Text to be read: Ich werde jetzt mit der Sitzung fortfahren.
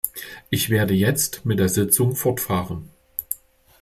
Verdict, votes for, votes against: accepted, 2, 0